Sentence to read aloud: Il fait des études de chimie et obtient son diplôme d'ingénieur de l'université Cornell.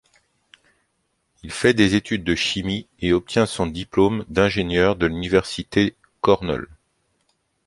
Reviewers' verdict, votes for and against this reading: accepted, 2, 1